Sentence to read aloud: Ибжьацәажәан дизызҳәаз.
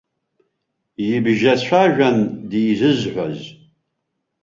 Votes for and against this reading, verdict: 1, 2, rejected